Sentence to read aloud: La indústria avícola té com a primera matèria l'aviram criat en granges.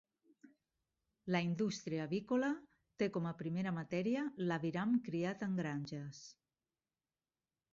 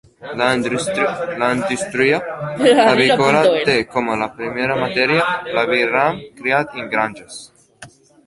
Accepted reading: first